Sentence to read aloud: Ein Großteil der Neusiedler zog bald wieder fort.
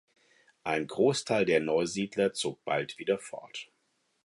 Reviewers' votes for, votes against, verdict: 4, 0, accepted